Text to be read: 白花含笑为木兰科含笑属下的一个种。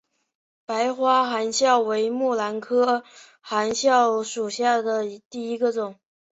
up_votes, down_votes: 2, 1